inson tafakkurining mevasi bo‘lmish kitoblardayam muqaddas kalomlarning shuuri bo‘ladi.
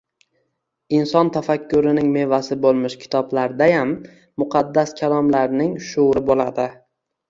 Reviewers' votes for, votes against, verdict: 2, 0, accepted